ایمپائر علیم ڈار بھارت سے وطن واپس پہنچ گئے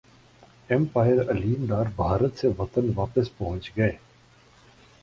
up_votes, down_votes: 10, 1